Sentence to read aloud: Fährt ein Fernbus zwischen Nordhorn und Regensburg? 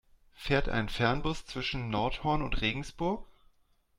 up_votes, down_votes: 2, 0